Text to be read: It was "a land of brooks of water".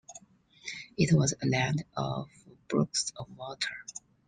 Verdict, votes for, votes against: accepted, 2, 1